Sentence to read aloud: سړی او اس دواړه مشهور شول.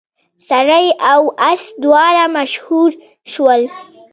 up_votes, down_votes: 0, 2